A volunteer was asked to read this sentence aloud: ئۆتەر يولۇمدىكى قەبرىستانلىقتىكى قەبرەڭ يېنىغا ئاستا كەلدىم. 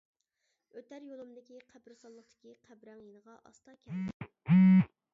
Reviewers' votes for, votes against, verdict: 0, 2, rejected